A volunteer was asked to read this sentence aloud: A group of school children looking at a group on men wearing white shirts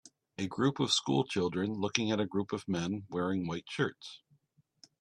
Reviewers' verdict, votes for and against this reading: accepted, 2, 0